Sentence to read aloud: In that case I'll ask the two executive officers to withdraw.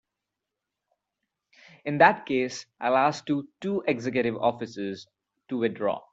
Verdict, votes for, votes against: rejected, 0, 2